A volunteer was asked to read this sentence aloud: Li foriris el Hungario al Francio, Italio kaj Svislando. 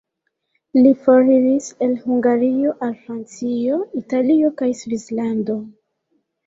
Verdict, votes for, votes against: rejected, 0, 2